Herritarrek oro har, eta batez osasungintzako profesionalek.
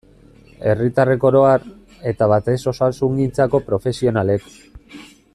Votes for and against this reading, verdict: 2, 0, accepted